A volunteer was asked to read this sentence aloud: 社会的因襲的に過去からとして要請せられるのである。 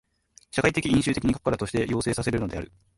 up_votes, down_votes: 1, 2